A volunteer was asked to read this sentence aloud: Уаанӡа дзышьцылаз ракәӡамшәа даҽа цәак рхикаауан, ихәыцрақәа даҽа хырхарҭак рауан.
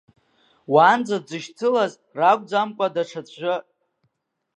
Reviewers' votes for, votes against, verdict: 1, 2, rejected